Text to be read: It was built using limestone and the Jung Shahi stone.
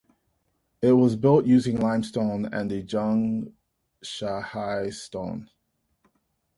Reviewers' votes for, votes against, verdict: 2, 0, accepted